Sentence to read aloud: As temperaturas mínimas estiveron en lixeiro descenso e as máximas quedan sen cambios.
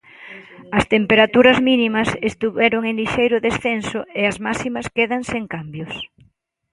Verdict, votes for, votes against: rejected, 1, 2